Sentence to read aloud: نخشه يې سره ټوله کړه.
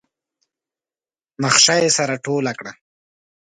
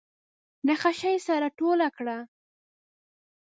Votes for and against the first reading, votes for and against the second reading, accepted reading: 2, 0, 0, 2, first